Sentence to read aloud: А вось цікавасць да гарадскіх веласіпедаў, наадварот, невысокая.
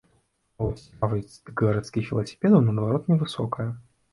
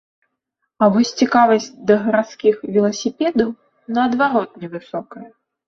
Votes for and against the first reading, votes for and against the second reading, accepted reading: 0, 3, 2, 0, second